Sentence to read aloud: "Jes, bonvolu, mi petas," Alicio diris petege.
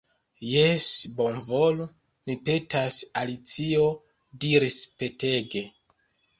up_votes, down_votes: 1, 2